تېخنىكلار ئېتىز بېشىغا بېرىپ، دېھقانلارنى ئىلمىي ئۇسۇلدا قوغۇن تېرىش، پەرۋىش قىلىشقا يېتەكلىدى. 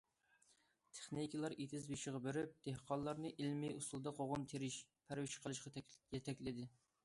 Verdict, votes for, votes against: accepted, 2, 1